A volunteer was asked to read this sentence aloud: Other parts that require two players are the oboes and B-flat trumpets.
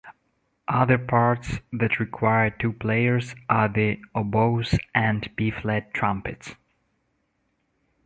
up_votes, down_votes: 2, 0